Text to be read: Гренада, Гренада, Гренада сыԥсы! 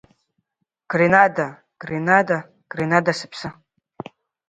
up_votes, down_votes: 2, 1